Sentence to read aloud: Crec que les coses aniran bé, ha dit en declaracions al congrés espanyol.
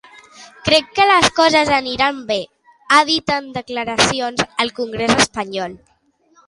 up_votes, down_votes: 2, 0